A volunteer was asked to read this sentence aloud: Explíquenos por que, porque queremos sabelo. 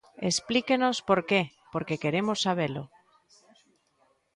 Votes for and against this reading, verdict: 2, 0, accepted